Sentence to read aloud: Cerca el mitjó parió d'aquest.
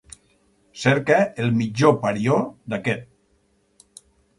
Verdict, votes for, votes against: accepted, 4, 0